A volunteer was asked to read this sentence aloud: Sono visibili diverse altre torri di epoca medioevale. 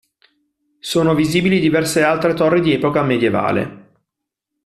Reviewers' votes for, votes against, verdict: 1, 2, rejected